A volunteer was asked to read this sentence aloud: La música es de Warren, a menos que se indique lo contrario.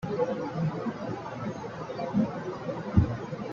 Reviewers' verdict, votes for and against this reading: rejected, 0, 2